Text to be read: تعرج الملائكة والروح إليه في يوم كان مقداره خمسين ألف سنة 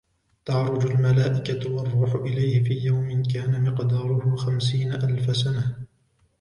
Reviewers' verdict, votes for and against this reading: accepted, 2, 0